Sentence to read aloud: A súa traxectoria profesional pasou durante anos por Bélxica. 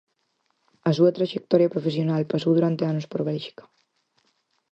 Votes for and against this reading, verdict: 4, 0, accepted